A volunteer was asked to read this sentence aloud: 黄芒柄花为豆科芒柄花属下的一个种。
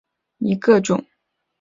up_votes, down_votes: 1, 3